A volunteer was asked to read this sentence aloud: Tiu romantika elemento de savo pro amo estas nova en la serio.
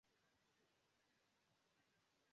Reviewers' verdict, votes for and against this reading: rejected, 1, 2